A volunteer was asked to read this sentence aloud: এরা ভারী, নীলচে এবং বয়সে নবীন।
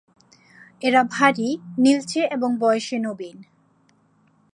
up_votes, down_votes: 4, 0